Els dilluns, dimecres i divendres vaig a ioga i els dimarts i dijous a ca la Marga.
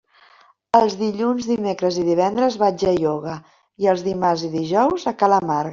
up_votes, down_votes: 0, 2